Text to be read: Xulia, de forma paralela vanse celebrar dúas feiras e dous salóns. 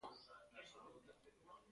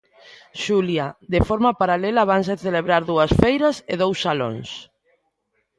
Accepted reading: second